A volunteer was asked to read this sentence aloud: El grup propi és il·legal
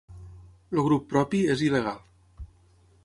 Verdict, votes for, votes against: rejected, 3, 6